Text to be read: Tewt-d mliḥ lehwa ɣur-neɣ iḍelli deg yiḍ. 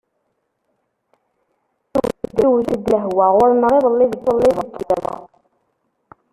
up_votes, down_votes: 0, 2